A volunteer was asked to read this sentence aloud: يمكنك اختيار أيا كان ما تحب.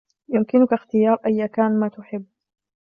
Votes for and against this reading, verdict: 3, 0, accepted